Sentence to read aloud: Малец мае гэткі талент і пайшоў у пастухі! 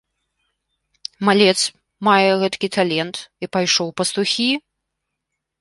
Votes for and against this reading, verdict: 2, 0, accepted